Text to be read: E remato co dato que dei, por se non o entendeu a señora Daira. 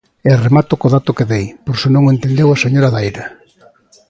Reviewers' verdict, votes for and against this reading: accepted, 2, 0